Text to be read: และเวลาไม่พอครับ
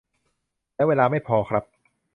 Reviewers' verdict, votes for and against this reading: accepted, 2, 0